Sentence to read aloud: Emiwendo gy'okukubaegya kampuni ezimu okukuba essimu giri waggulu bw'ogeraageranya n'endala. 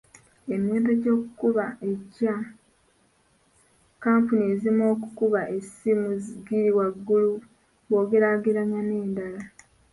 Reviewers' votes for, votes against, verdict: 1, 2, rejected